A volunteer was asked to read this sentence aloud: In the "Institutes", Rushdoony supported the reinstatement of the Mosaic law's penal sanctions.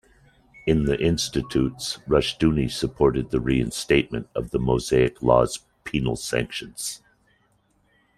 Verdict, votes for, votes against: accepted, 2, 0